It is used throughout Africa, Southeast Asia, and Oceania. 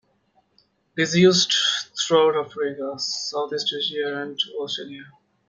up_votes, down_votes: 0, 2